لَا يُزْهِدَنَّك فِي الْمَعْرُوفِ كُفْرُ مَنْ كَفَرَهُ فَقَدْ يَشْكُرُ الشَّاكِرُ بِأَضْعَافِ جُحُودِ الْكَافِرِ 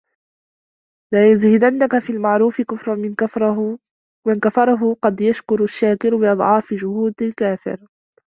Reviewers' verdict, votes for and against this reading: rejected, 1, 2